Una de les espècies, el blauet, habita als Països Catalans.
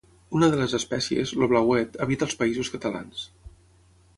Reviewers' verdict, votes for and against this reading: rejected, 3, 6